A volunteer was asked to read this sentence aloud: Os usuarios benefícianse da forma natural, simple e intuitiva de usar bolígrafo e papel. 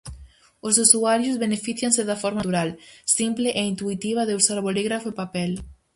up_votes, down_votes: 0, 4